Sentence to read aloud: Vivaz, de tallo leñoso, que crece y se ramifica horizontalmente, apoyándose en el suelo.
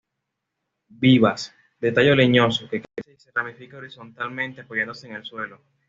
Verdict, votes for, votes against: rejected, 0, 2